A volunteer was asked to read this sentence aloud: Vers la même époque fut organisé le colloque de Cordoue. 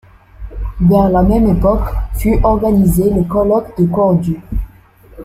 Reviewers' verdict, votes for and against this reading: rejected, 0, 2